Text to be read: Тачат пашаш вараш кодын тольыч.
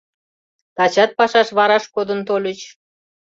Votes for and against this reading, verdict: 2, 0, accepted